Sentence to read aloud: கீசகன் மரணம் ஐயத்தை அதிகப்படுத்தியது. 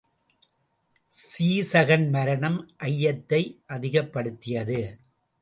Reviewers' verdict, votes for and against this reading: rejected, 0, 2